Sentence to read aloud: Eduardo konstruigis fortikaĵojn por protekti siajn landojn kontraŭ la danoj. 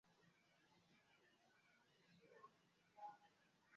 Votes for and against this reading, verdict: 1, 2, rejected